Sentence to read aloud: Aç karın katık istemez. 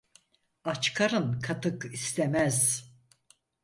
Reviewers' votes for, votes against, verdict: 4, 0, accepted